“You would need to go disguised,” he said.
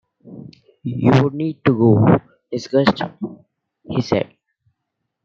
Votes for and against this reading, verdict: 0, 2, rejected